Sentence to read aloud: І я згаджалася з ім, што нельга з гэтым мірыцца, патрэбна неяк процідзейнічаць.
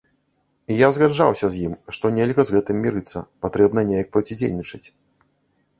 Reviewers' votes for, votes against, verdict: 0, 2, rejected